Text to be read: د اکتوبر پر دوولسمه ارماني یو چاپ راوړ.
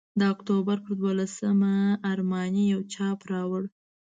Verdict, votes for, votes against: accepted, 2, 0